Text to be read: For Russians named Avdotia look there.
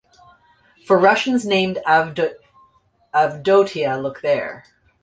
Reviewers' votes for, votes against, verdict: 1, 2, rejected